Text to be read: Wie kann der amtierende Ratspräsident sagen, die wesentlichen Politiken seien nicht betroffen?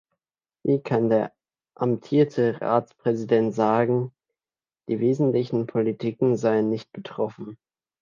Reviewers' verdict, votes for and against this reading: rejected, 1, 2